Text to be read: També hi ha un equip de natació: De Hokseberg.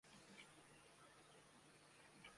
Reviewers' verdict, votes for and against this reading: rejected, 0, 2